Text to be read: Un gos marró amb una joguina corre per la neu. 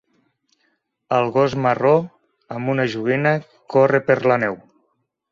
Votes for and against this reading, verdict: 1, 3, rejected